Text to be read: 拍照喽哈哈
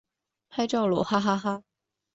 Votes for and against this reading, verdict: 1, 3, rejected